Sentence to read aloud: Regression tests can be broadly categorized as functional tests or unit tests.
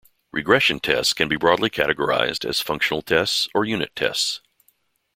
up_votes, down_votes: 2, 0